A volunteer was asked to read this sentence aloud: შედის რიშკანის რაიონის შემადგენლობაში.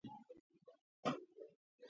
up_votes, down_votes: 0, 2